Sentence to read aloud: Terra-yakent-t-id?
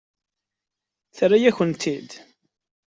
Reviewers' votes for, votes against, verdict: 2, 0, accepted